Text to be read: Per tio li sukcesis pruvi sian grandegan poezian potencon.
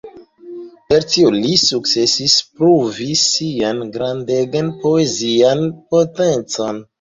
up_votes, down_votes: 2, 0